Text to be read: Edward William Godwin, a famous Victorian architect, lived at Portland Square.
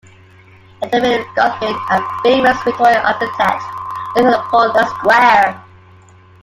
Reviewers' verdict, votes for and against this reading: rejected, 0, 2